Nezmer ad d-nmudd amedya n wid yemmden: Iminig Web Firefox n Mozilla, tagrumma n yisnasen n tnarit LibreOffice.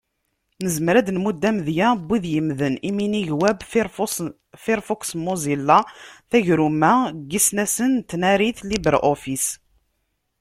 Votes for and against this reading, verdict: 0, 2, rejected